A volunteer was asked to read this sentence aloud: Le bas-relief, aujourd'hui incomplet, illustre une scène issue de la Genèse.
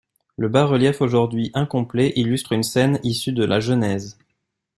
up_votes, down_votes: 2, 0